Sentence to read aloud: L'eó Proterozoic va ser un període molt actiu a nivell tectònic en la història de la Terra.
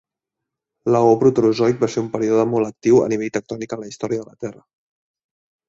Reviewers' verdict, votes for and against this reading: rejected, 0, 2